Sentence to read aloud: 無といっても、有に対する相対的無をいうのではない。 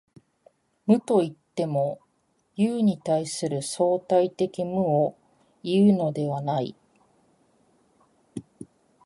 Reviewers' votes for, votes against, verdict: 2, 0, accepted